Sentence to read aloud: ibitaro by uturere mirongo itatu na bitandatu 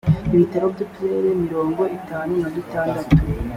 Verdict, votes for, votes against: accepted, 2, 0